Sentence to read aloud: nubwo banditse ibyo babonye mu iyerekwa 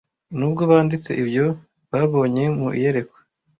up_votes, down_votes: 2, 0